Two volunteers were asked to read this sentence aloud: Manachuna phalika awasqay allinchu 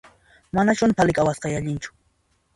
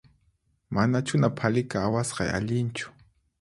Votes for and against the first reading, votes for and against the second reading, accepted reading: 1, 2, 4, 0, second